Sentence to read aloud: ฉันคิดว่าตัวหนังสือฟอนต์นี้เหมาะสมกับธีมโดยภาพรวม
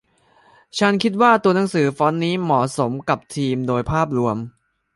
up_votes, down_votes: 2, 0